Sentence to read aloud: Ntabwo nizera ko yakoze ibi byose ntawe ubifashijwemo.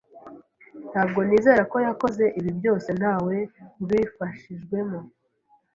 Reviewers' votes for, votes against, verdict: 2, 0, accepted